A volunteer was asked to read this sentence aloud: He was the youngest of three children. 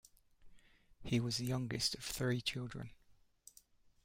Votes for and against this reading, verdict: 1, 2, rejected